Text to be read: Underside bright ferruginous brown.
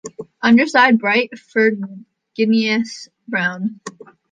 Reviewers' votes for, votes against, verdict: 1, 2, rejected